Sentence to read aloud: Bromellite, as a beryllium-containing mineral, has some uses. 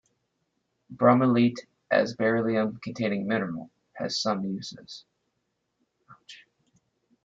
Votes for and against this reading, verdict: 1, 3, rejected